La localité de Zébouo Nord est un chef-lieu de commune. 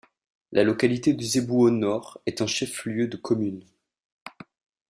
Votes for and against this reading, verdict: 2, 1, accepted